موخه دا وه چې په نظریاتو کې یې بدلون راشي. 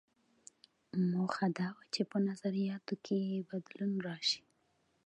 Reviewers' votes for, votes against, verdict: 1, 2, rejected